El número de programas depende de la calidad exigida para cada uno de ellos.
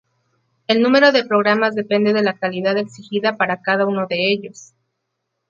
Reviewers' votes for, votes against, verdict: 2, 0, accepted